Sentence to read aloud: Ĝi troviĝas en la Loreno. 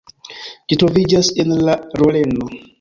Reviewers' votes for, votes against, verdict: 2, 1, accepted